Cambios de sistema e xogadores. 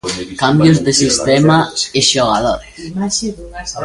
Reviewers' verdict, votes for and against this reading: rejected, 1, 2